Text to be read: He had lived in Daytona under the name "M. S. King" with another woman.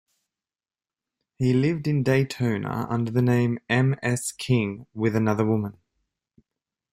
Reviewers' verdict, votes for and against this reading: rejected, 0, 2